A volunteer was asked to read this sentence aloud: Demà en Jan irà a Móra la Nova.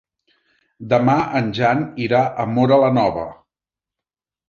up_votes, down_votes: 3, 0